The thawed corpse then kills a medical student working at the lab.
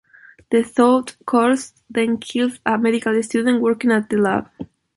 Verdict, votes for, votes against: accepted, 2, 1